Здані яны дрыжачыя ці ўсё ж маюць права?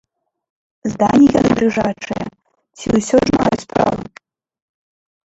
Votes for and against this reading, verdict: 0, 2, rejected